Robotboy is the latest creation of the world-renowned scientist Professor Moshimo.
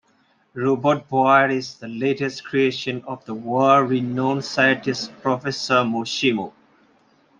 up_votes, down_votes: 2, 0